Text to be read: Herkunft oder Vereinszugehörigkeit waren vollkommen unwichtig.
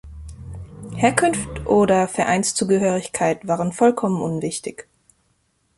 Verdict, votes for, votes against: accepted, 2, 1